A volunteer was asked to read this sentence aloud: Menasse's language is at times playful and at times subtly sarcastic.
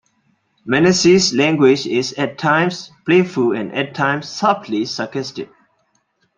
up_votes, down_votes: 2, 0